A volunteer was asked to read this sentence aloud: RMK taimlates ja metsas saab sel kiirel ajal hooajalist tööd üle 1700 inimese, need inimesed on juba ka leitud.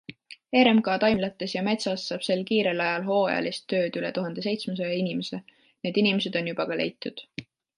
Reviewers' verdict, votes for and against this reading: rejected, 0, 2